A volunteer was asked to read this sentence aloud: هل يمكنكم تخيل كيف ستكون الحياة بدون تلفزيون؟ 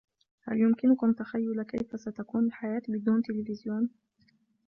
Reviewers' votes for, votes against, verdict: 1, 2, rejected